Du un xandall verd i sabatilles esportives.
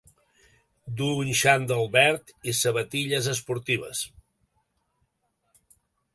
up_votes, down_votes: 1, 2